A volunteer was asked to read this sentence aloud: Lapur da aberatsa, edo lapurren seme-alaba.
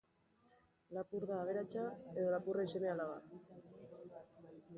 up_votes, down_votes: 2, 0